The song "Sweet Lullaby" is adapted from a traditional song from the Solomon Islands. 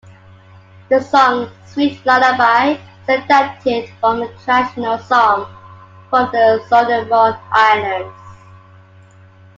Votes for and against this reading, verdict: 2, 0, accepted